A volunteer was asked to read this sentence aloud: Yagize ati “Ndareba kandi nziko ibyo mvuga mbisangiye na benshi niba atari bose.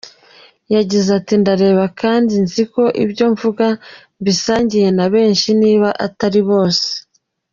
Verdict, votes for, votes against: rejected, 1, 2